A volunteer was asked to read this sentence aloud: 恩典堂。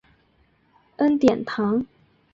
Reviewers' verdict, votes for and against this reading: accepted, 2, 0